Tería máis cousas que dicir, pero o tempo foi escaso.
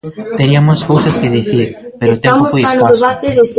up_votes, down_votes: 1, 2